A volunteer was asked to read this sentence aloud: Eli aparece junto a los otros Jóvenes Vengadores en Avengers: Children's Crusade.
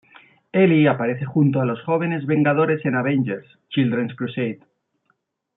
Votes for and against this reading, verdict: 1, 2, rejected